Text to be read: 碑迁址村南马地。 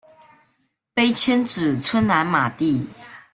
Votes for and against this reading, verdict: 2, 0, accepted